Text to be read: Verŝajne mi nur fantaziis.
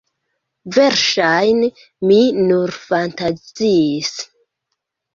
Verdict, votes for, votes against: rejected, 0, 2